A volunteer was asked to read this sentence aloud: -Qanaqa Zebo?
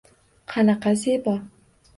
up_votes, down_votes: 1, 2